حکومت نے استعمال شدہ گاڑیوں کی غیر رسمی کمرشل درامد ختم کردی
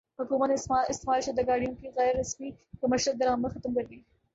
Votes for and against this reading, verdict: 0, 2, rejected